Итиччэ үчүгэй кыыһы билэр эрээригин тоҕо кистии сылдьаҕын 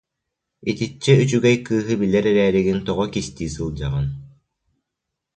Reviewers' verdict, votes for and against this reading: accepted, 2, 0